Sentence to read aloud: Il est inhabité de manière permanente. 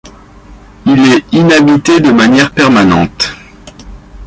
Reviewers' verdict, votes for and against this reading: rejected, 0, 2